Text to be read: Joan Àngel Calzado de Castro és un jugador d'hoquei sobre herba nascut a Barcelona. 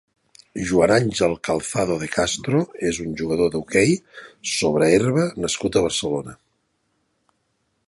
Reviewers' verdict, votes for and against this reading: accepted, 2, 0